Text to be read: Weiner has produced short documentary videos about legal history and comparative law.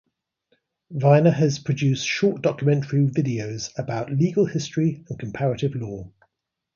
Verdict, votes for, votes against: accepted, 2, 0